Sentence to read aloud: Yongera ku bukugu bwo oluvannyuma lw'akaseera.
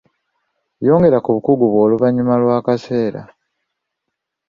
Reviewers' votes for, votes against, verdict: 2, 0, accepted